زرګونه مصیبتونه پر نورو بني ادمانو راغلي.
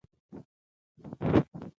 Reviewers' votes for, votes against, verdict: 1, 2, rejected